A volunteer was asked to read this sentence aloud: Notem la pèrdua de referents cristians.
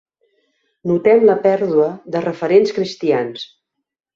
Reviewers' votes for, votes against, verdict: 3, 0, accepted